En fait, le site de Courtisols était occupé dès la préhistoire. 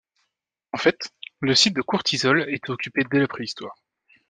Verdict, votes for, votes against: accepted, 2, 0